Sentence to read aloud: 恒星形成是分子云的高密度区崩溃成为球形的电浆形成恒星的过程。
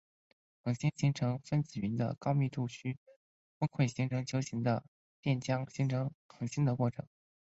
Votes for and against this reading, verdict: 4, 1, accepted